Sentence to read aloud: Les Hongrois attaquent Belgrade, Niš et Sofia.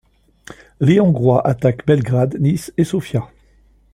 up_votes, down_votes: 2, 0